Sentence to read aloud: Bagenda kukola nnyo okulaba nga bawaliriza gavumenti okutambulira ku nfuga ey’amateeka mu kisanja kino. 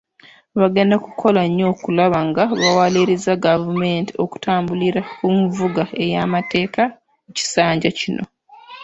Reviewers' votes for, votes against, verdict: 0, 2, rejected